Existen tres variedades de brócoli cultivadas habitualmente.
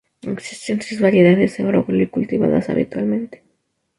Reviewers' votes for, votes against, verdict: 0, 2, rejected